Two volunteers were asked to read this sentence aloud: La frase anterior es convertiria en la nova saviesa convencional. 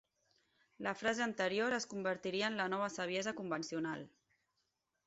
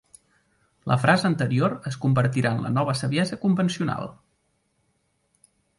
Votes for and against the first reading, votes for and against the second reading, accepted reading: 6, 0, 1, 2, first